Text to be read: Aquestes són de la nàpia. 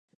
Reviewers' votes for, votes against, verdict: 0, 2, rejected